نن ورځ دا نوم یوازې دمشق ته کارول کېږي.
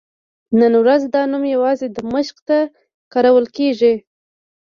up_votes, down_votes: 2, 1